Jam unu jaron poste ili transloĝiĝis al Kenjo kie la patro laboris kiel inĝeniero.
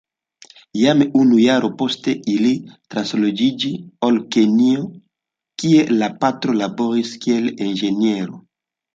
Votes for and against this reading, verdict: 0, 2, rejected